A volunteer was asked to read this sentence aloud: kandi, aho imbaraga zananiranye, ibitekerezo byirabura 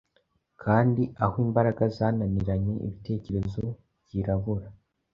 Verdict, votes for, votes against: accepted, 2, 0